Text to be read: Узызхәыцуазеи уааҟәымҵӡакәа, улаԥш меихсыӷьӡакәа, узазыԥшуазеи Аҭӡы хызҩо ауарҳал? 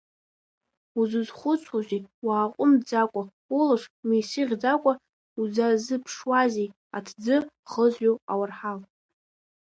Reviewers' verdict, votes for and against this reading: rejected, 1, 2